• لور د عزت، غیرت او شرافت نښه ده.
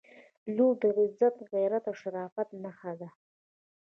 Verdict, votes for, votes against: accepted, 2, 0